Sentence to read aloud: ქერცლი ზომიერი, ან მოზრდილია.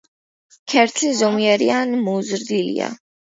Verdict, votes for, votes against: accepted, 2, 0